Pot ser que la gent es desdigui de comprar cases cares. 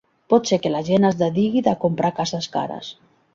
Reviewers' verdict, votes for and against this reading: rejected, 0, 2